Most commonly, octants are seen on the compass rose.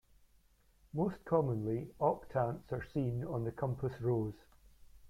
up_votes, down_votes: 1, 2